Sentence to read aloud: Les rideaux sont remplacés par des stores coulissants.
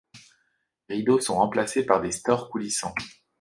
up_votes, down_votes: 2, 0